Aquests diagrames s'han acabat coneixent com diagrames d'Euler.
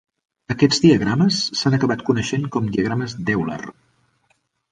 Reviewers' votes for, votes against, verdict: 3, 1, accepted